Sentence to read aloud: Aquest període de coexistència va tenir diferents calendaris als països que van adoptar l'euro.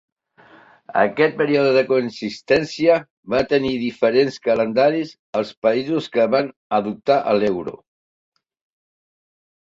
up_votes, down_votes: 0, 3